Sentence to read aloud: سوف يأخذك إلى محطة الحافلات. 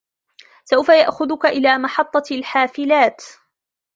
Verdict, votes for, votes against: rejected, 1, 2